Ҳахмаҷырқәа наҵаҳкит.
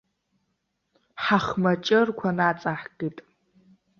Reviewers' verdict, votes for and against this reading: accepted, 2, 0